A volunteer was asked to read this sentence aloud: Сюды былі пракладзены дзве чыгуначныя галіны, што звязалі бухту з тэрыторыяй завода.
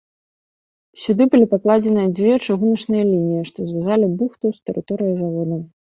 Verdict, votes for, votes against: rejected, 0, 2